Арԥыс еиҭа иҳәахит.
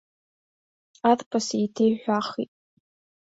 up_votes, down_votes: 0, 2